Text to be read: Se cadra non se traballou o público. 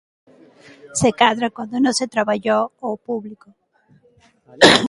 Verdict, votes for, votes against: rejected, 0, 2